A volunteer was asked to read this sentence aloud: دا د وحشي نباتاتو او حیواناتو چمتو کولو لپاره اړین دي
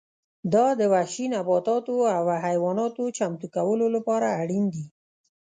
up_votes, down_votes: 0, 2